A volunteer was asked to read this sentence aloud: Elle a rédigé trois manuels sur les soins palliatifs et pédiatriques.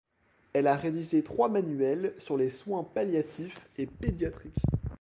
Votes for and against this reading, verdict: 2, 0, accepted